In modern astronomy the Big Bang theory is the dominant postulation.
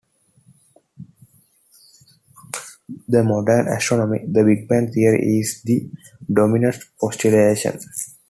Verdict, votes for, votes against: rejected, 1, 2